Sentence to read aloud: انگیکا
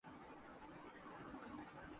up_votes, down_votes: 0, 2